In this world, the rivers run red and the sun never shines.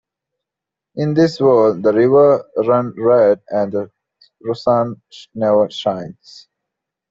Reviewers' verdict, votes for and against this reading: rejected, 0, 2